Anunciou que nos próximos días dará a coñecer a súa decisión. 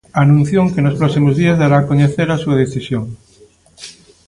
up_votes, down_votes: 2, 0